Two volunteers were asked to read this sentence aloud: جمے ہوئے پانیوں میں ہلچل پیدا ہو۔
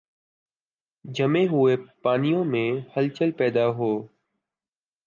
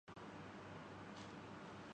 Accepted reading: first